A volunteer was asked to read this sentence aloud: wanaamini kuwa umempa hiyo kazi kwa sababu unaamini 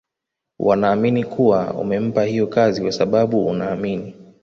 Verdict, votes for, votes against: accepted, 2, 1